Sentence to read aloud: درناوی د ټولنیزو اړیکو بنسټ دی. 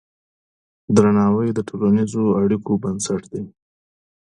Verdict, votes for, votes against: accepted, 2, 0